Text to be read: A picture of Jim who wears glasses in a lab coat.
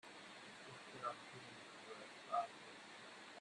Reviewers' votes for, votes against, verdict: 0, 2, rejected